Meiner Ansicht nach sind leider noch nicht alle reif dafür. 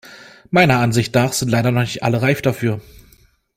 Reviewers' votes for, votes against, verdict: 2, 0, accepted